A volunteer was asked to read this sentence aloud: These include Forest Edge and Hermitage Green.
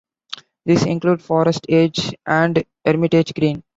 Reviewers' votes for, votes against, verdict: 2, 0, accepted